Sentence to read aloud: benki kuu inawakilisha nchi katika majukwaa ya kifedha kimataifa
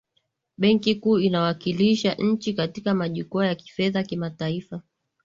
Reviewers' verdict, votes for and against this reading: accepted, 17, 1